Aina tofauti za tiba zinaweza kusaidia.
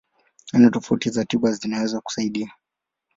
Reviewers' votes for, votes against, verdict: 11, 2, accepted